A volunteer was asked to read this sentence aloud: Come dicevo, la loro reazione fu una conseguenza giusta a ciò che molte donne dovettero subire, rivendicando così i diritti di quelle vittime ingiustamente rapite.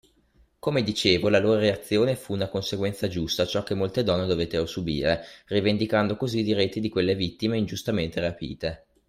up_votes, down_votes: 2, 0